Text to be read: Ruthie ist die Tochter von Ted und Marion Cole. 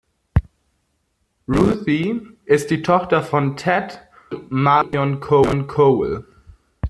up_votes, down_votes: 0, 2